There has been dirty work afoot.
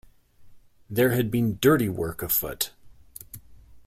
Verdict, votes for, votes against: rejected, 0, 2